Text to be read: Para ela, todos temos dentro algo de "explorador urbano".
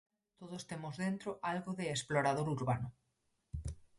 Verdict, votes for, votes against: rejected, 0, 4